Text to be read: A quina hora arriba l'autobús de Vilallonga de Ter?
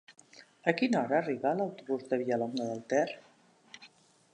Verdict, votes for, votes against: rejected, 0, 2